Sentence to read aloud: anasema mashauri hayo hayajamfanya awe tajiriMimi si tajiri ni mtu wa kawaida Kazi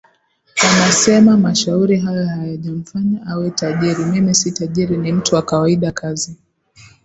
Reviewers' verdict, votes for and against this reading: accepted, 2, 0